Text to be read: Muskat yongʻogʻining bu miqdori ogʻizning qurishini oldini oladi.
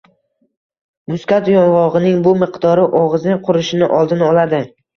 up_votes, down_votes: 1, 2